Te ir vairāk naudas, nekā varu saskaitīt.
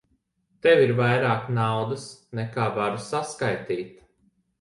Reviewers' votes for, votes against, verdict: 3, 2, accepted